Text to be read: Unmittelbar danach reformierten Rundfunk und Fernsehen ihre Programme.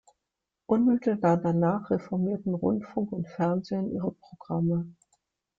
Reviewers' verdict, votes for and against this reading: accepted, 2, 0